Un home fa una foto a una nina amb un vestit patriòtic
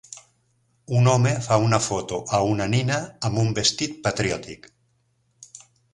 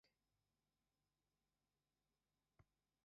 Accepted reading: first